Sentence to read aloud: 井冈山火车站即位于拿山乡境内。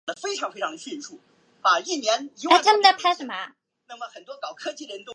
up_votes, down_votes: 0, 3